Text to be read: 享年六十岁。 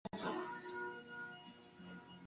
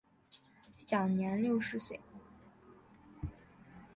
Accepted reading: second